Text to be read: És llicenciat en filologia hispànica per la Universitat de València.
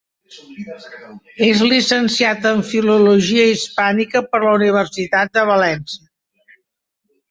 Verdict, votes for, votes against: rejected, 1, 2